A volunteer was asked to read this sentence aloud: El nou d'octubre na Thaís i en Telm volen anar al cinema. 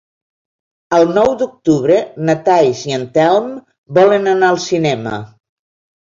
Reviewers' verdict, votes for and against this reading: rejected, 0, 2